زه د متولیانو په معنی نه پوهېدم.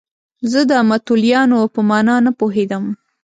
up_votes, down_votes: 0, 2